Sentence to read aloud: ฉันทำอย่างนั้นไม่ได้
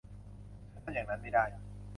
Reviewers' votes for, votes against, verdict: 0, 2, rejected